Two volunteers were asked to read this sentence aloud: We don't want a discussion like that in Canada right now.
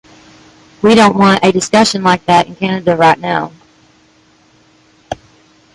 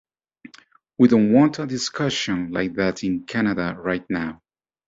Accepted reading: second